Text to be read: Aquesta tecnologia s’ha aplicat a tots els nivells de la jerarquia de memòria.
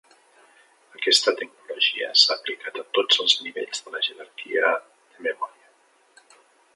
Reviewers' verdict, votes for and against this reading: rejected, 1, 2